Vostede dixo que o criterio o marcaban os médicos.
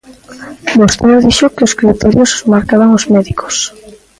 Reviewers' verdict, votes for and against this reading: rejected, 0, 2